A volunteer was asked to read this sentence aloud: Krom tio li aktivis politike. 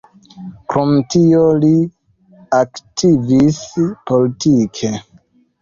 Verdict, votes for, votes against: rejected, 0, 2